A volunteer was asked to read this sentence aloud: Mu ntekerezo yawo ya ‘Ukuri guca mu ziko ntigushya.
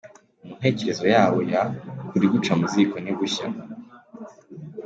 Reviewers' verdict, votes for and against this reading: accepted, 2, 0